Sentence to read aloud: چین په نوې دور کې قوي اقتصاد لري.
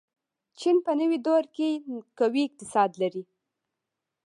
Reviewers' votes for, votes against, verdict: 1, 2, rejected